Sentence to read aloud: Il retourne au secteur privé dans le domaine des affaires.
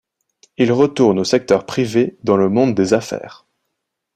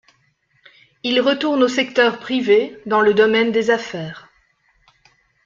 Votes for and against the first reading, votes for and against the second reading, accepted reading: 1, 2, 2, 0, second